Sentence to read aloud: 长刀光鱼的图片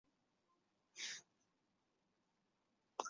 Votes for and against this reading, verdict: 0, 2, rejected